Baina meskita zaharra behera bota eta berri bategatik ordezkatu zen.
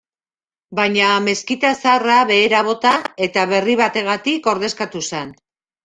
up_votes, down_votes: 0, 2